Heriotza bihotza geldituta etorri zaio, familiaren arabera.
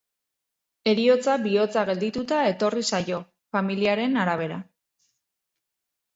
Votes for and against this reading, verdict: 2, 0, accepted